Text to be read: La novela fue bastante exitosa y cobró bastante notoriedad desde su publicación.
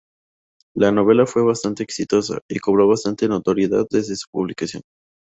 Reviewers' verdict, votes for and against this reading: accepted, 2, 0